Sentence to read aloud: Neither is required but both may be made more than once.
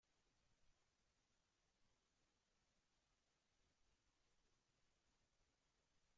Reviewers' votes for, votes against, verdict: 0, 2, rejected